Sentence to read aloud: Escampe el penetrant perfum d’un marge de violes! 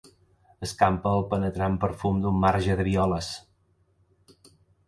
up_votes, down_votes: 2, 0